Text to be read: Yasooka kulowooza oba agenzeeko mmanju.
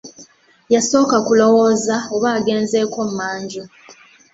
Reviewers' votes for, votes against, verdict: 2, 0, accepted